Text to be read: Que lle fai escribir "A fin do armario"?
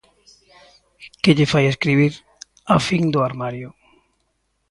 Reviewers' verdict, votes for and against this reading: accepted, 2, 0